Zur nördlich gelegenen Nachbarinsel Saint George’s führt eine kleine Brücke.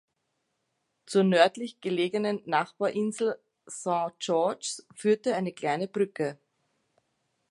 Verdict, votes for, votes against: accepted, 2, 1